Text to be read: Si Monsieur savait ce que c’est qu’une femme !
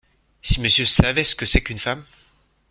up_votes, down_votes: 2, 0